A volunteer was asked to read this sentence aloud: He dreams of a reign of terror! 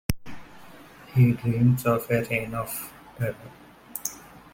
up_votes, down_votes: 1, 2